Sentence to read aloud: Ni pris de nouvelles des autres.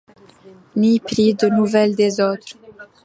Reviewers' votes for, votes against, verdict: 2, 0, accepted